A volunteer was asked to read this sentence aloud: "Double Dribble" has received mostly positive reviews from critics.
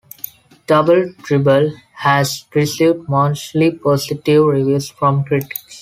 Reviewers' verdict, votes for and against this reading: accepted, 2, 0